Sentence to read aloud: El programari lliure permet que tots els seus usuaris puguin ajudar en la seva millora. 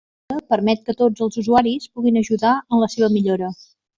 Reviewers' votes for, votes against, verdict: 0, 2, rejected